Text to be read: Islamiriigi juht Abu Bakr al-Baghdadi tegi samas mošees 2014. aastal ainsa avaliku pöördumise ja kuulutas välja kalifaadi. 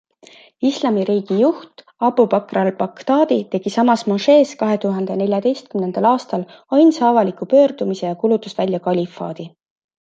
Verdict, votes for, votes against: rejected, 0, 2